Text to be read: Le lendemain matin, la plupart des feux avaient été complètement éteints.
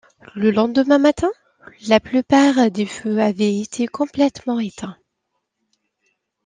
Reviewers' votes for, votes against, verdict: 2, 1, accepted